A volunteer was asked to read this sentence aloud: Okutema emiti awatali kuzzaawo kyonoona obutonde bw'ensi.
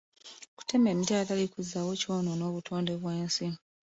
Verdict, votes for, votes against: accepted, 2, 0